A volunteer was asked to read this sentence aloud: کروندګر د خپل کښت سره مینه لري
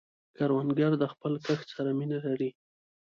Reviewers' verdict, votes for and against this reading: accepted, 2, 1